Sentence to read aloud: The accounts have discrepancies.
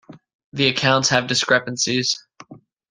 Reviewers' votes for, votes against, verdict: 2, 0, accepted